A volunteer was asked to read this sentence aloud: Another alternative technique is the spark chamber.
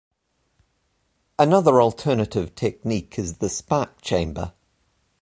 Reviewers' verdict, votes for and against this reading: accepted, 3, 0